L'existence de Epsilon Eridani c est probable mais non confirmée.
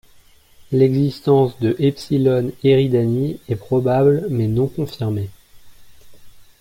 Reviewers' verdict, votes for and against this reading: rejected, 0, 2